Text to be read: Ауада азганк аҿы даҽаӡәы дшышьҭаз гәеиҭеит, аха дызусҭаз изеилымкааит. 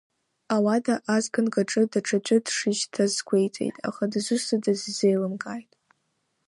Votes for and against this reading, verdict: 1, 2, rejected